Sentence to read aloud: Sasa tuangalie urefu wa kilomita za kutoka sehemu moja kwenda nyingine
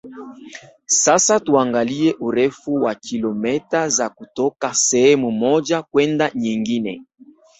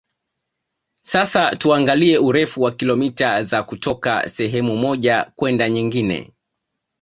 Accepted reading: second